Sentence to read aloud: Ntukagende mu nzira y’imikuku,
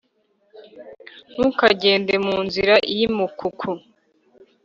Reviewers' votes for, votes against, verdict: 1, 2, rejected